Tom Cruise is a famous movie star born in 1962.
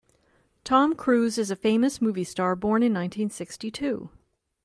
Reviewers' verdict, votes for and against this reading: rejected, 0, 2